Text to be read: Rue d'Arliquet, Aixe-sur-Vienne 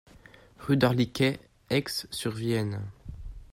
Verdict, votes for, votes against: accepted, 2, 0